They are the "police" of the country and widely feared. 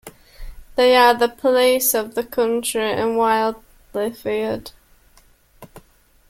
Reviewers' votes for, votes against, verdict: 0, 2, rejected